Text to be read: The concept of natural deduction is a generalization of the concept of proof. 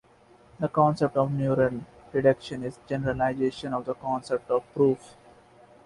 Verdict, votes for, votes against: rejected, 0, 2